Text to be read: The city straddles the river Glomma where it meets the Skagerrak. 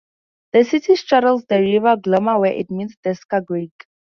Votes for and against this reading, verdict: 4, 0, accepted